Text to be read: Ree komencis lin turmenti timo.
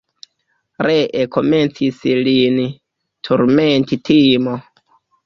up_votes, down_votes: 2, 1